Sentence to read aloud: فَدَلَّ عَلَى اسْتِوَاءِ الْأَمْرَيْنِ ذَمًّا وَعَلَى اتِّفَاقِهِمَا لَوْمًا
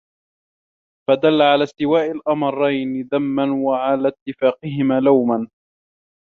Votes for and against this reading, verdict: 2, 0, accepted